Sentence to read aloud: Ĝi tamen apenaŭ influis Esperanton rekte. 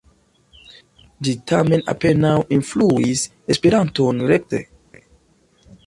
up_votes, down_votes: 2, 0